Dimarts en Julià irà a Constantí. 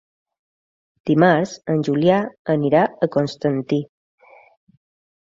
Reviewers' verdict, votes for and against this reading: rejected, 1, 2